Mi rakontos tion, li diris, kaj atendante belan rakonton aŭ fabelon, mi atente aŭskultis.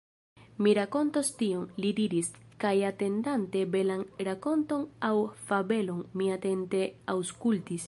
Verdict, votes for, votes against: rejected, 1, 2